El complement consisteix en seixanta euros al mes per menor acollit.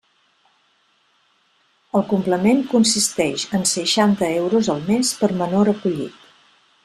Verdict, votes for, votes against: accepted, 3, 0